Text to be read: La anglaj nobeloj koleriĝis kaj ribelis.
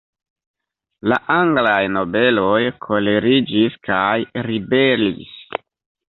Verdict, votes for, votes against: rejected, 1, 2